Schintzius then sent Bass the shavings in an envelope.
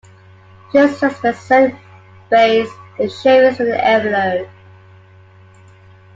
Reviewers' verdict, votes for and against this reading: accepted, 2, 0